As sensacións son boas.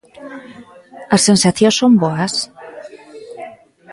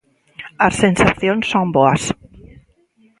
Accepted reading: first